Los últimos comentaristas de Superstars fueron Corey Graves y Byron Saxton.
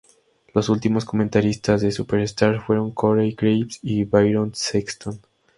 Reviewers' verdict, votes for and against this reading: accepted, 4, 0